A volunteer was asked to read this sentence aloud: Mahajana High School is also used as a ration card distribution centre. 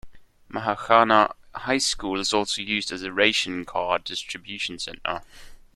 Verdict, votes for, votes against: rejected, 1, 2